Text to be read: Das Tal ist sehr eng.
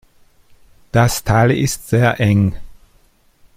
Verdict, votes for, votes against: accepted, 2, 0